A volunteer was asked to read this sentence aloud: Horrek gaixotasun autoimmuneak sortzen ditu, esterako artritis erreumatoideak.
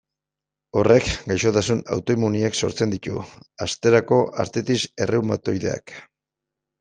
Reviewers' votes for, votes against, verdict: 0, 2, rejected